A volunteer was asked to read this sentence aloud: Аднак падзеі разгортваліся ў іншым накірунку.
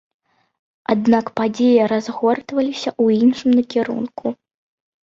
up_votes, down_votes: 2, 0